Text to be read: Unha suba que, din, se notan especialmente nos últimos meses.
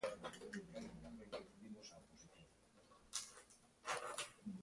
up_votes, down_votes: 0, 2